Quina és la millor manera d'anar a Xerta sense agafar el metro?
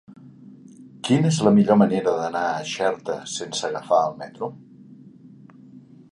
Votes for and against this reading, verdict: 3, 0, accepted